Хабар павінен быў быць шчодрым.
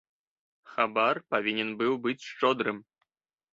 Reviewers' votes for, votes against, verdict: 1, 2, rejected